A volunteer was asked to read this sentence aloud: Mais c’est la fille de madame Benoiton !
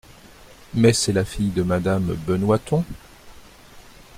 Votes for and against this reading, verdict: 3, 0, accepted